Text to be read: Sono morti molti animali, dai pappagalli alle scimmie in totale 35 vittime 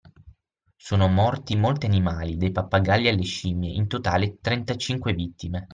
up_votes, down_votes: 0, 2